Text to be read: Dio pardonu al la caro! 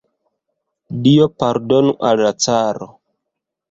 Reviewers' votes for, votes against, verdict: 2, 0, accepted